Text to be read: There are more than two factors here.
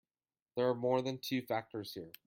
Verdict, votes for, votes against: accepted, 2, 0